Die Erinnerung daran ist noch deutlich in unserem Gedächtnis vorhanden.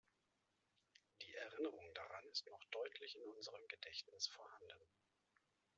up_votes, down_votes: 0, 2